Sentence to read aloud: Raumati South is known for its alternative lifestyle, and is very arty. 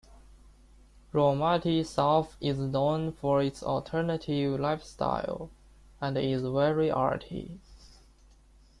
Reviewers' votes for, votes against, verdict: 2, 0, accepted